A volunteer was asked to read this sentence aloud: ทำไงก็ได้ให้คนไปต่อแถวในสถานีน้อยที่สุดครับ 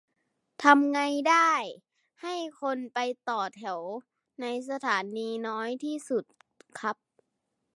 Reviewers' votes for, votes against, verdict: 1, 2, rejected